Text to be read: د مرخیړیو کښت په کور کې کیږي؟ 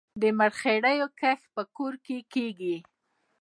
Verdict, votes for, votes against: rejected, 0, 2